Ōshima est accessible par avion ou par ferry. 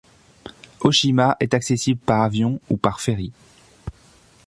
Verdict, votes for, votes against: accepted, 2, 0